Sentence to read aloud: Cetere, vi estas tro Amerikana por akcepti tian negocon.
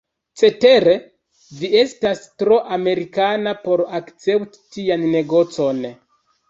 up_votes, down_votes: 2, 1